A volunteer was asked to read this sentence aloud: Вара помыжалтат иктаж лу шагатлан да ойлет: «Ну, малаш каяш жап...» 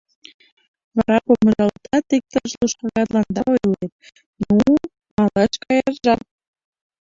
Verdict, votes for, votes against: rejected, 0, 2